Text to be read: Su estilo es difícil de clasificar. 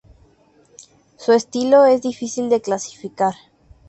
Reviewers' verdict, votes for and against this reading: accepted, 2, 0